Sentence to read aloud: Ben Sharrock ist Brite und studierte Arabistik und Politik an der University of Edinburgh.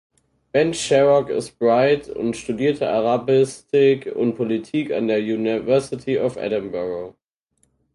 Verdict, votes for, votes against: rejected, 0, 4